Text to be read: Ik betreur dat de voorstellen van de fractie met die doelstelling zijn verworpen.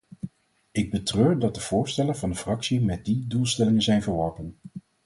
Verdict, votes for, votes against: rejected, 2, 2